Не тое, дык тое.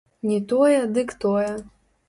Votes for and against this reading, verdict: 0, 2, rejected